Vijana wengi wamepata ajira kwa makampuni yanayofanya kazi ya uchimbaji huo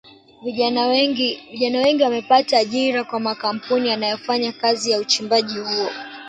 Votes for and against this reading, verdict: 2, 0, accepted